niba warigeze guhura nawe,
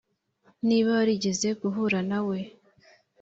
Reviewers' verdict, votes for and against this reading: accepted, 2, 0